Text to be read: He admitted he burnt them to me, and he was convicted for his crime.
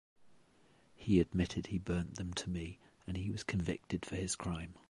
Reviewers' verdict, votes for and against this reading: accepted, 2, 0